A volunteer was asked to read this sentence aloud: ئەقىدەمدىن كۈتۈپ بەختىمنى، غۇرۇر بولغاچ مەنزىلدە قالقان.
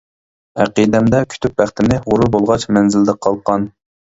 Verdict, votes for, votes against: rejected, 0, 2